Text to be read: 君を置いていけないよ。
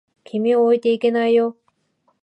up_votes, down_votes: 4, 0